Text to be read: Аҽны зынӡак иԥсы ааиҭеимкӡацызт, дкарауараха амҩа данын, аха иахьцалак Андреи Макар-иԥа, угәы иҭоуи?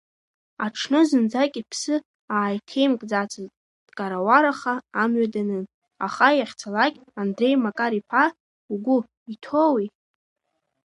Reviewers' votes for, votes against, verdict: 2, 0, accepted